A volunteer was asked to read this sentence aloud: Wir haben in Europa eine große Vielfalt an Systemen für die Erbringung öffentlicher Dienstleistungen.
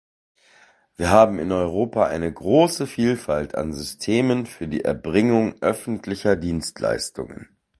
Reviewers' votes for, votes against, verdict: 2, 0, accepted